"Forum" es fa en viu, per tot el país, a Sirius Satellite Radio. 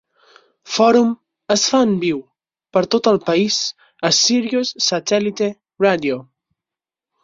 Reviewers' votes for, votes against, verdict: 4, 0, accepted